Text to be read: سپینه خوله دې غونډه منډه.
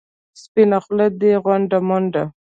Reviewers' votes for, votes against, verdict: 0, 2, rejected